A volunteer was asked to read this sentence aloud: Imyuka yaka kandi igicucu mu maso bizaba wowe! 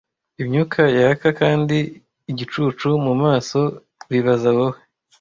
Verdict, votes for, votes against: rejected, 0, 2